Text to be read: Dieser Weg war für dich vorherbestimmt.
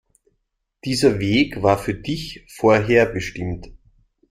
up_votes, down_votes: 2, 0